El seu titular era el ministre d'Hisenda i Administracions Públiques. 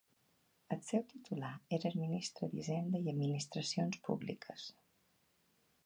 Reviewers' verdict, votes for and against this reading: accepted, 2, 0